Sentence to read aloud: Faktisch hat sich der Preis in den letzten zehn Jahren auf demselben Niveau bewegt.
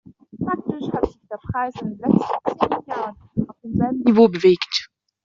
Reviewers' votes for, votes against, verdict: 1, 2, rejected